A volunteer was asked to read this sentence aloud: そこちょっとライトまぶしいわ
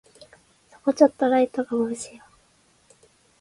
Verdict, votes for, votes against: rejected, 1, 2